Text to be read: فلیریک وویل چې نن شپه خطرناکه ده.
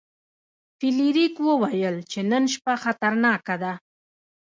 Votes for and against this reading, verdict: 2, 0, accepted